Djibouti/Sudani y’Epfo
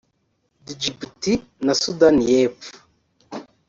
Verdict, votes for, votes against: rejected, 1, 2